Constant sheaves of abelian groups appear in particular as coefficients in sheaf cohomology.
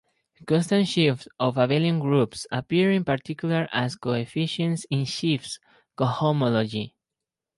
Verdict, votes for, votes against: rejected, 0, 2